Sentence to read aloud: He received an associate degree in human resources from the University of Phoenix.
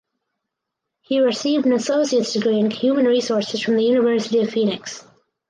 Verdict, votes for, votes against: rejected, 0, 4